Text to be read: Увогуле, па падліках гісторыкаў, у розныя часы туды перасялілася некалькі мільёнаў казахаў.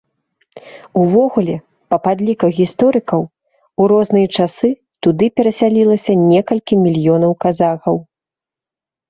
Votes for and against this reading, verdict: 2, 0, accepted